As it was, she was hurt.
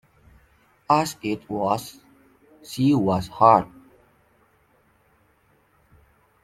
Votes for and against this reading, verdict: 0, 2, rejected